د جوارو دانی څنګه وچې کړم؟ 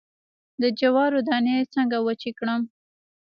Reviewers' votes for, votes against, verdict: 1, 2, rejected